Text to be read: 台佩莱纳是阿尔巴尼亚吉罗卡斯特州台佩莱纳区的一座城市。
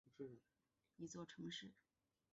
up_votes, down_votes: 0, 5